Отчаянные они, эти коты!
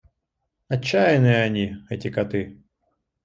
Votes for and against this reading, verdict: 2, 0, accepted